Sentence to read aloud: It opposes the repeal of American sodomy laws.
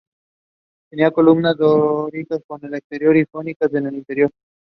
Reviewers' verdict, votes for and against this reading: rejected, 0, 2